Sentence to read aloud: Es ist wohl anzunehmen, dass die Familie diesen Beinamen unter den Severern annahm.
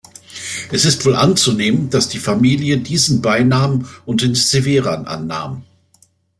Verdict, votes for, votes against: rejected, 0, 2